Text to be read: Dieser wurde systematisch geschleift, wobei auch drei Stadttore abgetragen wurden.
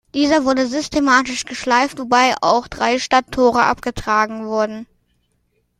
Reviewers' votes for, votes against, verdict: 2, 0, accepted